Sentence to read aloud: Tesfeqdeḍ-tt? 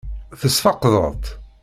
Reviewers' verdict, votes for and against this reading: rejected, 0, 2